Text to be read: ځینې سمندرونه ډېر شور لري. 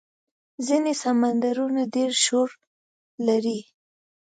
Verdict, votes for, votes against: accepted, 2, 0